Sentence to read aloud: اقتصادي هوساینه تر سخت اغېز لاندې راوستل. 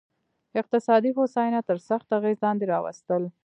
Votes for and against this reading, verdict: 2, 1, accepted